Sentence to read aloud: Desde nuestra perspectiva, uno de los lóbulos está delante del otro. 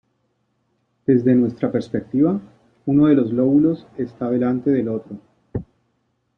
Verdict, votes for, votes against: accepted, 2, 0